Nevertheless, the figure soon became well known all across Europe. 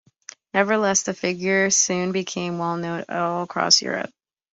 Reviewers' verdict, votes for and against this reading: accepted, 2, 0